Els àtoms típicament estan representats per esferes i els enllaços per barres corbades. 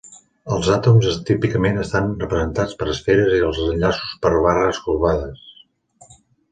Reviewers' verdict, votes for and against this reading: rejected, 1, 3